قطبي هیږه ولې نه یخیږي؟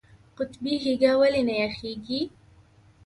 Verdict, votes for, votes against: accepted, 2, 0